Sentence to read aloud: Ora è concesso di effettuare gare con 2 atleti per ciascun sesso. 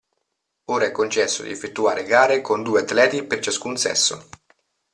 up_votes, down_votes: 0, 2